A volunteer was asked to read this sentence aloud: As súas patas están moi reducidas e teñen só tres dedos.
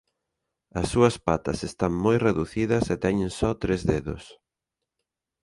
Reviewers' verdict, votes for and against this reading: accepted, 2, 0